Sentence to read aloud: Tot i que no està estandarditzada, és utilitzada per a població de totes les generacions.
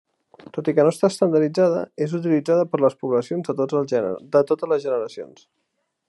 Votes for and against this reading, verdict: 0, 2, rejected